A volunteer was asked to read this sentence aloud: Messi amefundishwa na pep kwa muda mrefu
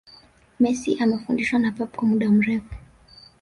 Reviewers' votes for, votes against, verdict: 1, 2, rejected